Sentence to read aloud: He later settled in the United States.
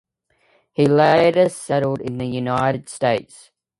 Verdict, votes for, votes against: accepted, 2, 1